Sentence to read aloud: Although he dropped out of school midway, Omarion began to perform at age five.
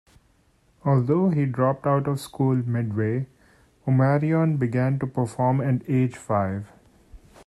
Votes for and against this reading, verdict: 2, 0, accepted